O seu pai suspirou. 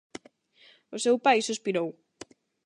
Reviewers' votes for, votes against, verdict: 8, 0, accepted